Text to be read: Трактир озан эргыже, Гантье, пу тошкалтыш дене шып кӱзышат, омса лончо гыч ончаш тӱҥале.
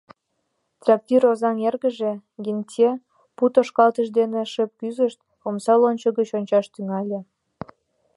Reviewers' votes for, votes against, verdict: 1, 2, rejected